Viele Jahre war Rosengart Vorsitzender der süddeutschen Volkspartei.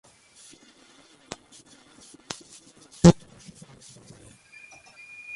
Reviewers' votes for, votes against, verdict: 0, 2, rejected